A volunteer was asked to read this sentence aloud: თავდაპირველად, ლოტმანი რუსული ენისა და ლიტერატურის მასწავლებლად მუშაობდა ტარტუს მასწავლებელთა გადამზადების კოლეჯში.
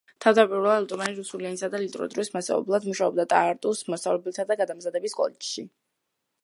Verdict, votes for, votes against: rejected, 0, 2